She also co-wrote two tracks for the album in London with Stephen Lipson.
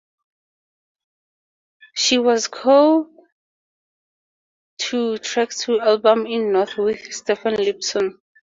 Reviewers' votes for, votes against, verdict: 4, 2, accepted